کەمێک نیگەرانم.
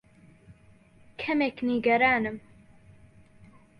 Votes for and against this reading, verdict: 2, 0, accepted